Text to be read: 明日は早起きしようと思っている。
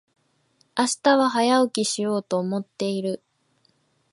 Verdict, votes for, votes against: rejected, 1, 2